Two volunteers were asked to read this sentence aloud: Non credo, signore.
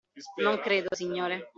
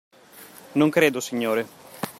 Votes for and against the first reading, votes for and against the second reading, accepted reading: 0, 2, 2, 0, second